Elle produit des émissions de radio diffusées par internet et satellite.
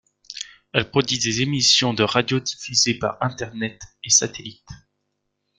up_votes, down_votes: 0, 2